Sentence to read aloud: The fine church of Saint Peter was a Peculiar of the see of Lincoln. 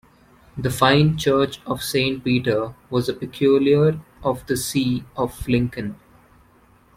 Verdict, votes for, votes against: accepted, 2, 0